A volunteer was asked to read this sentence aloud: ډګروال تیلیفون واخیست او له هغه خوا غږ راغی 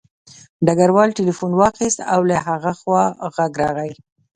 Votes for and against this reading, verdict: 2, 0, accepted